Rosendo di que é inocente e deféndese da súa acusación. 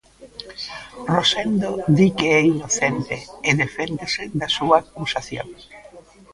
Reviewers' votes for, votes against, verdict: 1, 2, rejected